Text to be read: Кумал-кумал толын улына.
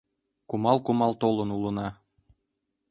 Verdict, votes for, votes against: accepted, 2, 0